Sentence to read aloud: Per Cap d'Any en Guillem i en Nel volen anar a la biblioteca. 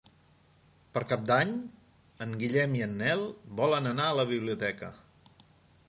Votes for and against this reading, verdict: 3, 0, accepted